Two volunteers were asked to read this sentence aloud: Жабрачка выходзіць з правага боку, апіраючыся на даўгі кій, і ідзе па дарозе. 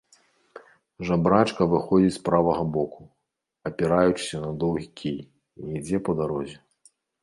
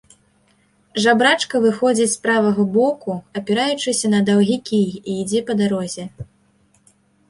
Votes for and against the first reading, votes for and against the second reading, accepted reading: 0, 2, 2, 0, second